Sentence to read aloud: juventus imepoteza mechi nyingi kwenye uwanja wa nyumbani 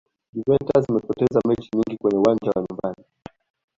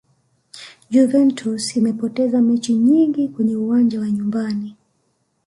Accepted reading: first